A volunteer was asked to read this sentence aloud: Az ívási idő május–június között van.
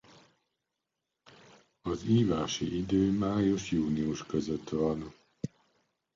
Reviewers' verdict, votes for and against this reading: accepted, 2, 0